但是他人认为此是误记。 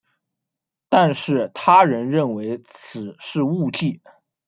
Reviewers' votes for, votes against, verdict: 1, 2, rejected